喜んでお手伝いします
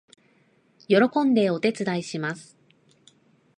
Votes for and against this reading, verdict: 2, 0, accepted